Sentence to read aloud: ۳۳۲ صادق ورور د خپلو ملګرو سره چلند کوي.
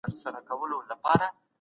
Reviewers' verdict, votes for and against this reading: rejected, 0, 2